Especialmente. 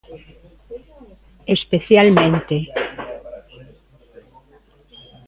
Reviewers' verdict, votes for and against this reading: rejected, 1, 2